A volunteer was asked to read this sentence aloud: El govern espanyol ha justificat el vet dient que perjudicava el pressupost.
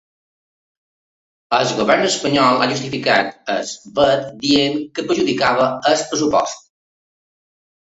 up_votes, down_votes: 0, 3